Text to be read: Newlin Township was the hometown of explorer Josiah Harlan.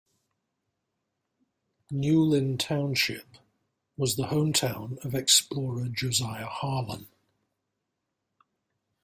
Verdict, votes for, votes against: rejected, 1, 2